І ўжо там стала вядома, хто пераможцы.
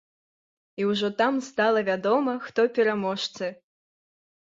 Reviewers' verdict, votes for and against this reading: accepted, 3, 0